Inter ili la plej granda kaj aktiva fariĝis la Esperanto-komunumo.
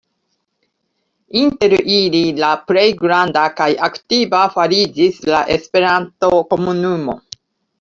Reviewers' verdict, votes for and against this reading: accepted, 2, 0